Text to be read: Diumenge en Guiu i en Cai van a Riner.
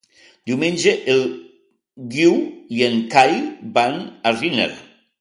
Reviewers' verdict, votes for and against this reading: rejected, 2, 4